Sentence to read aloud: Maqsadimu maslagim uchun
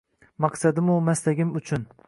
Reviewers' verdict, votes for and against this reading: accepted, 2, 0